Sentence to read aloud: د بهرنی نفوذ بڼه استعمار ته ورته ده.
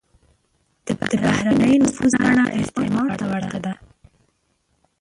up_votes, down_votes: 1, 2